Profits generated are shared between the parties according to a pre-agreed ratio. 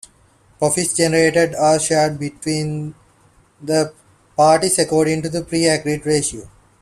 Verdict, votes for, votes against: rejected, 0, 2